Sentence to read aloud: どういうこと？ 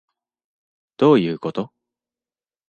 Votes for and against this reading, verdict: 2, 0, accepted